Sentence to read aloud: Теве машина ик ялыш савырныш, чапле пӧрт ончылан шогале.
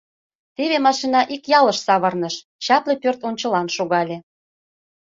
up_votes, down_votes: 2, 0